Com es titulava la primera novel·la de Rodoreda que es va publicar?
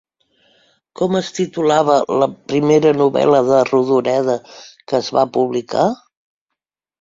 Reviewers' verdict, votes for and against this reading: accepted, 3, 0